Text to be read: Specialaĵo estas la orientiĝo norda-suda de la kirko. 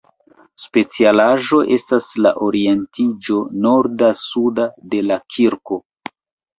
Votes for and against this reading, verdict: 2, 0, accepted